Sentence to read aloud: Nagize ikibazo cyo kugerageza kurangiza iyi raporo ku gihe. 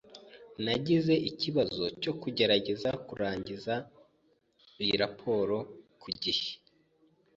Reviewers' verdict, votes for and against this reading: accepted, 2, 0